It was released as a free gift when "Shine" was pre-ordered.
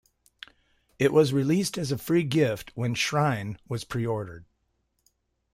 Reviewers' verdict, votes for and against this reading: rejected, 1, 2